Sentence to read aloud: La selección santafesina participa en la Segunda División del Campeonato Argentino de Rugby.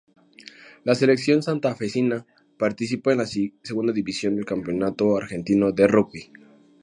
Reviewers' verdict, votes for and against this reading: accepted, 2, 0